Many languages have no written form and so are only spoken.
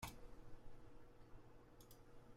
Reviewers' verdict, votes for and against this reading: rejected, 0, 2